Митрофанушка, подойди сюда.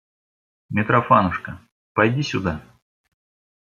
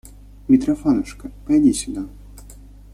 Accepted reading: second